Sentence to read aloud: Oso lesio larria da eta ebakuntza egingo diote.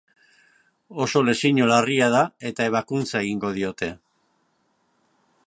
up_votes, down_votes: 0, 2